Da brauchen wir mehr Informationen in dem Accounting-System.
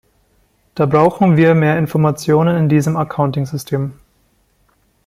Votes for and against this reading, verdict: 1, 2, rejected